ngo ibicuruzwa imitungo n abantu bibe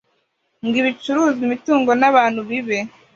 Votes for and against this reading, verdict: 2, 0, accepted